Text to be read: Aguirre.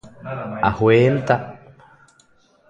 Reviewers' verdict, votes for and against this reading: rejected, 0, 2